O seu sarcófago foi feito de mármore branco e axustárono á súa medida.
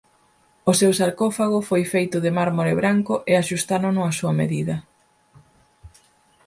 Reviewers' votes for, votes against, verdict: 4, 0, accepted